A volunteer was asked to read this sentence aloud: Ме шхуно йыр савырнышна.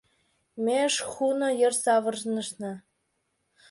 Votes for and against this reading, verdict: 1, 2, rejected